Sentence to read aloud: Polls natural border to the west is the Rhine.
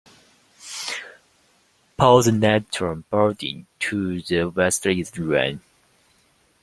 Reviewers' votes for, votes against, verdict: 0, 2, rejected